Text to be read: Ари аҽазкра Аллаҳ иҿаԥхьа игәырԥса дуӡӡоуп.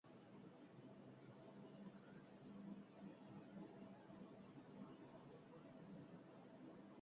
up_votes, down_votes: 0, 2